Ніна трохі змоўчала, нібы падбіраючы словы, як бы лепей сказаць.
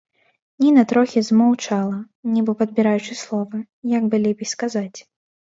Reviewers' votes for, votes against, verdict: 0, 4, rejected